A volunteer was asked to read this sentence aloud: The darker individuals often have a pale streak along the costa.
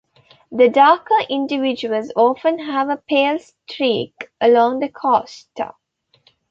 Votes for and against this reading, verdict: 2, 0, accepted